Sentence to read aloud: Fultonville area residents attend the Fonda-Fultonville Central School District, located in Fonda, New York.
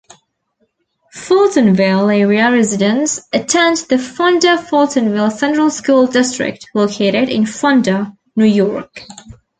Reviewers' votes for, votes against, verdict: 2, 0, accepted